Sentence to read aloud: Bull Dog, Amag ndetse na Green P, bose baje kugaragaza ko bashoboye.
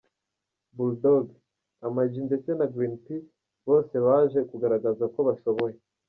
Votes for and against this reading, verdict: 2, 1, accepted